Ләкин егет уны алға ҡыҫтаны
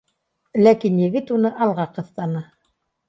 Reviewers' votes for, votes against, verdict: 2, 0, accepted